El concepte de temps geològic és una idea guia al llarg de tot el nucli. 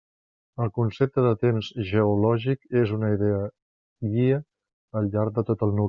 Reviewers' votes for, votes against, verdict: 1, 2, rejected